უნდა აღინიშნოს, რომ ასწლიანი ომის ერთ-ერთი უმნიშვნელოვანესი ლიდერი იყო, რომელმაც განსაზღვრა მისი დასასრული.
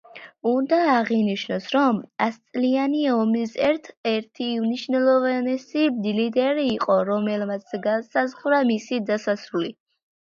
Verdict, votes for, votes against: accepted, 2, 1